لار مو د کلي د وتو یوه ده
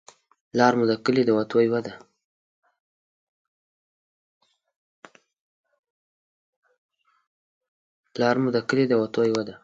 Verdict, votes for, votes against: rejected, 0, 2